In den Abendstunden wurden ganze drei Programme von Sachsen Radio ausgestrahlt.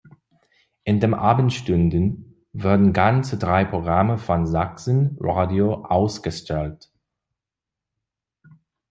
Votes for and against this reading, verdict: 2, 1, accepted